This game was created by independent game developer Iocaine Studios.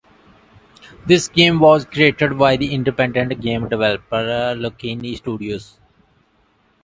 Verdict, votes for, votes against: rejected, 1, 2